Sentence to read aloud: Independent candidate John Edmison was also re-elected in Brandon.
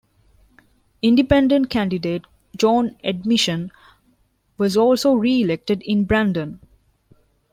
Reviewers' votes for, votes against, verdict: 1, 3, rejected